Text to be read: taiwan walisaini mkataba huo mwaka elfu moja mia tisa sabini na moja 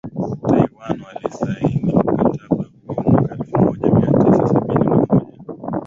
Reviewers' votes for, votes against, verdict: 0, 2, rejected